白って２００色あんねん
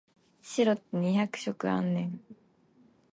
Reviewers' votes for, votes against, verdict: 0, 2, rejected